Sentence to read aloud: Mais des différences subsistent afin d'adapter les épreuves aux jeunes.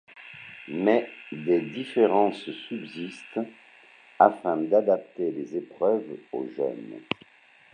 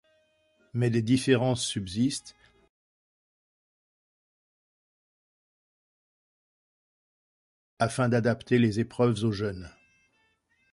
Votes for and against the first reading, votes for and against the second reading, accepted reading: 2, 0, 0, 2, first